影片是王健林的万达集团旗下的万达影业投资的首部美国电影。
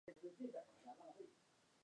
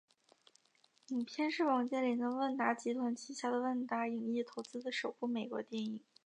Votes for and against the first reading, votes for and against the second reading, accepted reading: 1, 2, 2, 0, second